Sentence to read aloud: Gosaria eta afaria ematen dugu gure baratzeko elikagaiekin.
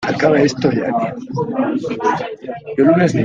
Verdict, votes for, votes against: rejected, 0, 2